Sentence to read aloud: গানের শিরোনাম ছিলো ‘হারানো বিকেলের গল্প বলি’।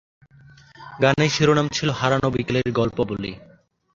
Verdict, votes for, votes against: accepted, 2, 0